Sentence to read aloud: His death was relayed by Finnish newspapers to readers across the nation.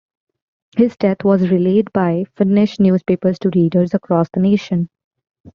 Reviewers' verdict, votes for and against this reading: accepted, 2, 0